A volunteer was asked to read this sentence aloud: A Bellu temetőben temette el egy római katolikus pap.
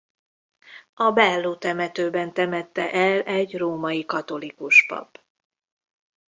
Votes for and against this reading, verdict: 2, 0, accepted